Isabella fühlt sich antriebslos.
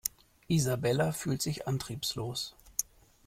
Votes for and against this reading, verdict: 2, 0, accepted